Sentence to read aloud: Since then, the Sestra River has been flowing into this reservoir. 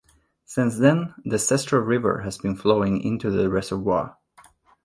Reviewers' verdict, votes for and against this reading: rejected, 0, 2